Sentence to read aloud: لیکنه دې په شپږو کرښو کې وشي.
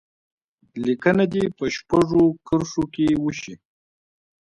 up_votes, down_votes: 2, 0